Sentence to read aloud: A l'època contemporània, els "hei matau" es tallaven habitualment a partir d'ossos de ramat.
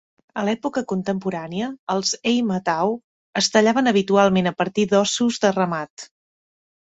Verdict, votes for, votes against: accepted, 2, 0